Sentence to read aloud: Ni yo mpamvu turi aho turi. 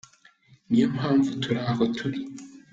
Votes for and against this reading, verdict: 2, 0, accepted